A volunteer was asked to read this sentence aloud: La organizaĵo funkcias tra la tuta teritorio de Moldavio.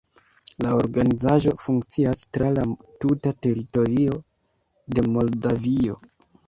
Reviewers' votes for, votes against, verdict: 1, 2, rejected